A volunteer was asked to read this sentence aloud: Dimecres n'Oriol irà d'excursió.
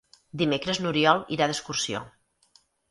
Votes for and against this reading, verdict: 6, 0, accepted